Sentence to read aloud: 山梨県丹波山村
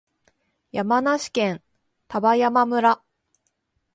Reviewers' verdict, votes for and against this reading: accepted, 2, 0